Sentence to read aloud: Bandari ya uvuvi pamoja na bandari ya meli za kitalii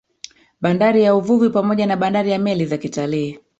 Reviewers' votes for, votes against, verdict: 1, 2, rejected